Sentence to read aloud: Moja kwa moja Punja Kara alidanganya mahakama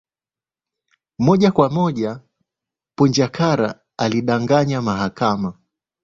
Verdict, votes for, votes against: accepted, 2, 0